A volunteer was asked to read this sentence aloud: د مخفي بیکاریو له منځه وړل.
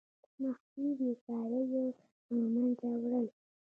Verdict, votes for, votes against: rejected, 1, 2